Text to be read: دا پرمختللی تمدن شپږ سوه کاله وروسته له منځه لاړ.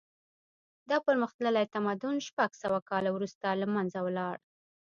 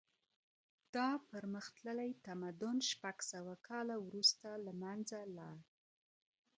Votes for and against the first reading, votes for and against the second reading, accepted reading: 0, 2, 2, 0, second